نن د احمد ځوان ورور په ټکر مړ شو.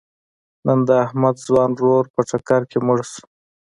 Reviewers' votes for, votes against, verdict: 1, 2, rejected